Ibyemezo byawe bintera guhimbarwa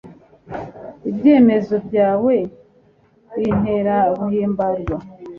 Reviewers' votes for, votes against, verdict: 2, 0, accepted